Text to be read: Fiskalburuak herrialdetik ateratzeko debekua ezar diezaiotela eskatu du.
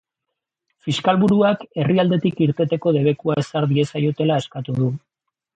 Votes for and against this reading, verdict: 0, 3, rejected